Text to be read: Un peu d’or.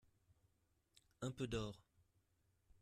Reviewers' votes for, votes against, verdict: 2, 0, accepted